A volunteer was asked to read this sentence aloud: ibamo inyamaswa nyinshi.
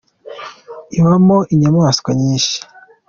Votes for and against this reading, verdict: 2, 0, accepted